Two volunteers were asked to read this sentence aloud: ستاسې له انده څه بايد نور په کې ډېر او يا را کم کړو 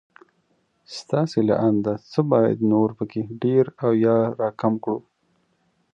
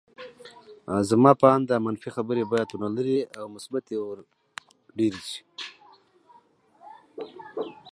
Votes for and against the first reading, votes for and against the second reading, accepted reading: 5, 0, 1, 2, first